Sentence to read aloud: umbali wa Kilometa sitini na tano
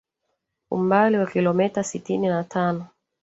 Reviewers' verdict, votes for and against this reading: rejected, 1, 2